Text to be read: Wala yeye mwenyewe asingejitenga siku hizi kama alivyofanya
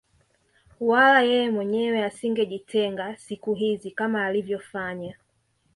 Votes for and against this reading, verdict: 2, 0, accepted